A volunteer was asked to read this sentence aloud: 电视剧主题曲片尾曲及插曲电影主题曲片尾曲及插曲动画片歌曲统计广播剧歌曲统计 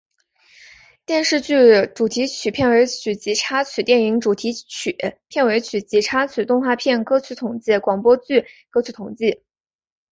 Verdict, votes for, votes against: accepted, 4, 0